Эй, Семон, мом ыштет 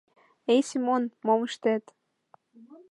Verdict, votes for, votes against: accepted, 3, 0